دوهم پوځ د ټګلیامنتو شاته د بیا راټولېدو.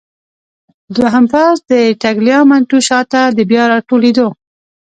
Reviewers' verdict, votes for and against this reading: accepted, 3, 0